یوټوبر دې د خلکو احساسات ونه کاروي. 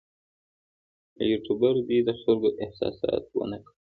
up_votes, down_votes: 1, 2